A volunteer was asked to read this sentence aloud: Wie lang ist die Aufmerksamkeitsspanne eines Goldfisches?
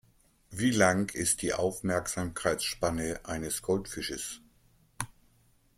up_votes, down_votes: 2, 0